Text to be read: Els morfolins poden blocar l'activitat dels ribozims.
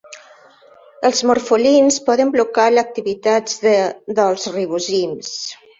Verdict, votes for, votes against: rejected, 0, 2